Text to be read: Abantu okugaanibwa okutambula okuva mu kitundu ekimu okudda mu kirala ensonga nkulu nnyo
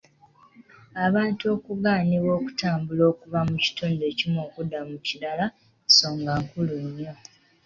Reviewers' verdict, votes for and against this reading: rejected, 0, 2